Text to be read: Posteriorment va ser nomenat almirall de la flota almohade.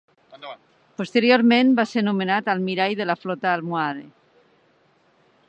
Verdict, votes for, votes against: rejected, 1, 2